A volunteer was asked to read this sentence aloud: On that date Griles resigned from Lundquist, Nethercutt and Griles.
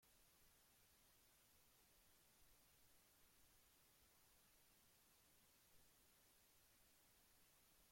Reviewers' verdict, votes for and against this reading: rejected, 0, 2